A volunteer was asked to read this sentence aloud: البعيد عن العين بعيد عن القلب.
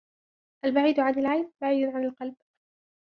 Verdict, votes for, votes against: rejected, 0, 2